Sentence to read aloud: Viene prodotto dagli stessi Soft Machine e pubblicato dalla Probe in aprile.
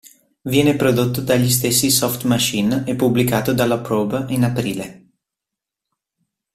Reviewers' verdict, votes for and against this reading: accepted, 2, 0